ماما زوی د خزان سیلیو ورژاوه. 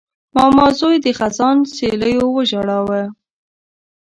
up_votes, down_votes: 0, 2